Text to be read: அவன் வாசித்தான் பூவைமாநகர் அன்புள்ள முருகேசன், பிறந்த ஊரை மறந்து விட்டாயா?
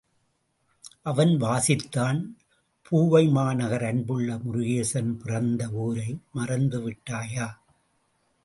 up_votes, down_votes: 2, 0